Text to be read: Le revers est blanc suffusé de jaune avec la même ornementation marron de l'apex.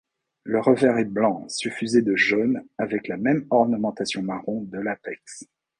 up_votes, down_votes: 2, 0